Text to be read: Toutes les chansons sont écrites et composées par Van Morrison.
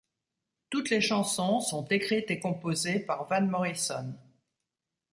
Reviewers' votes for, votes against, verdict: 2, 0, accepted